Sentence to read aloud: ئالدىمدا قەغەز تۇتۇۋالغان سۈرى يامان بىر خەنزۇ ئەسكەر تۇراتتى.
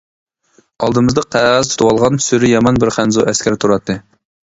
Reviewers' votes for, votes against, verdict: 0, 2, rejected